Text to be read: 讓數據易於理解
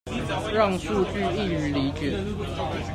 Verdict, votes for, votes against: rejected, 1, 2